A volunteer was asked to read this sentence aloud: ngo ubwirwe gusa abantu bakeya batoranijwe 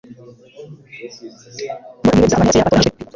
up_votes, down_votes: 0, 2